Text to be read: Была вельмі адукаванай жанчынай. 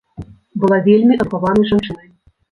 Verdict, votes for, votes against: rejected, 0, 2